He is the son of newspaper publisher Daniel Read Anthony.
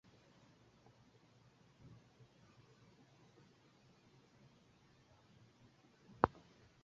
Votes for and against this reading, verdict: 0, 2, rejected